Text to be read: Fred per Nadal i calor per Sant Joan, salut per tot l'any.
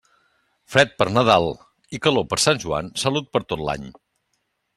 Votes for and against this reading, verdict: 2, 0, accepted